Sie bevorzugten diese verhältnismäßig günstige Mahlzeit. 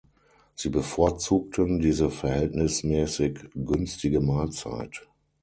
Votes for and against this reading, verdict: 6, 0, accepted